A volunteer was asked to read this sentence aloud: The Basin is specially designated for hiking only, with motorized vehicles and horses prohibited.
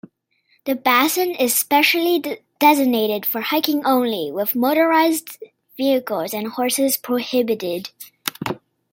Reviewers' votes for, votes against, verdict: 0, 2, rejected